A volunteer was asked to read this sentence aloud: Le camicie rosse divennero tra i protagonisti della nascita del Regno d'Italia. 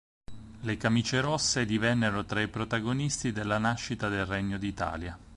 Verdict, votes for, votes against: accepted, 4, 0